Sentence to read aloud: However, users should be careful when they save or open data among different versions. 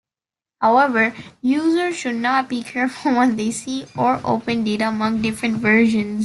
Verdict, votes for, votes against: rejected, 1, 2